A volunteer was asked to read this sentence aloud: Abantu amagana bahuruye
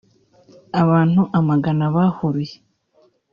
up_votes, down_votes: 2, 0